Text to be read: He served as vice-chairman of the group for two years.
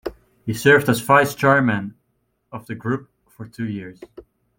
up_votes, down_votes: 2, 0